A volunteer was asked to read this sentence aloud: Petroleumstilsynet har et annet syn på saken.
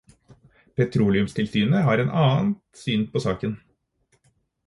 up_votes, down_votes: 2, 4